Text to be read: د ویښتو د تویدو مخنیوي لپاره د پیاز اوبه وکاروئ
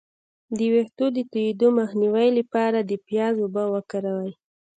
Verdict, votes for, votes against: rejected, 1, 2